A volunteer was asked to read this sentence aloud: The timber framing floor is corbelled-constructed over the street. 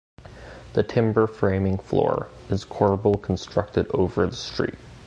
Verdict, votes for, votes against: accepted, 2, 1